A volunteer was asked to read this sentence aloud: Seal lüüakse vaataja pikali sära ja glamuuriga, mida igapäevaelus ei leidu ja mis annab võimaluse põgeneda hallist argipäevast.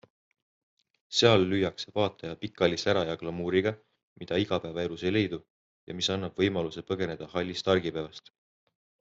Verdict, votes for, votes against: accepted, 2, 0